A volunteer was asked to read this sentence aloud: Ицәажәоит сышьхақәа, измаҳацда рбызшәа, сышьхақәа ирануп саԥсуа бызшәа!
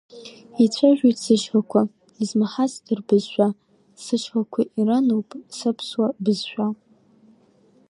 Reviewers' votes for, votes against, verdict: 2, 0, accepted